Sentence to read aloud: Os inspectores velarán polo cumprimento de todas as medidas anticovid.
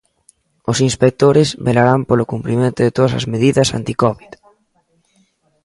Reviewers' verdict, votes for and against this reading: accepted, 2, 1